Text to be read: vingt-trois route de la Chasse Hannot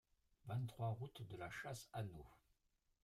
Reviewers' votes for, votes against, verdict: 1, 2, rejected